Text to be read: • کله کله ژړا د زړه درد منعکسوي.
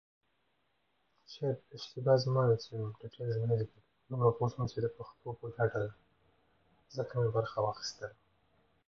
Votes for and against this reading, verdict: 0, 2, rejected